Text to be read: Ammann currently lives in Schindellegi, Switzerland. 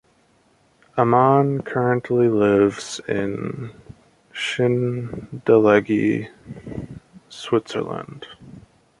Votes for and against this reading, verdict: 2, 0, accepted